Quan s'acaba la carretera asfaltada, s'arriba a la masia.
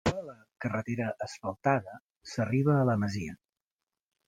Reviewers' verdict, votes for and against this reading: rejected, 0, 2